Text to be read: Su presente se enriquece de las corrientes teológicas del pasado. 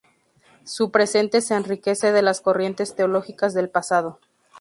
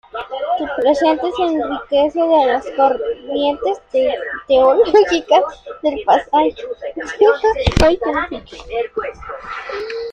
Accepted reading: first